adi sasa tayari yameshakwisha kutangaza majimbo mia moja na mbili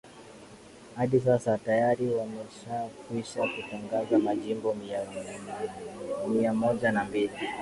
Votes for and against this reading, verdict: 5, 3, accepted